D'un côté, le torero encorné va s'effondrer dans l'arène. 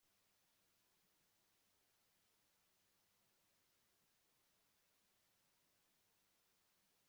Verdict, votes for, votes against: rejected, 0, 2